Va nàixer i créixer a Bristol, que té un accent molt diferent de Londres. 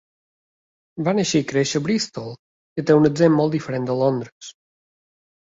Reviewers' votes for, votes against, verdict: 2, 0, accepted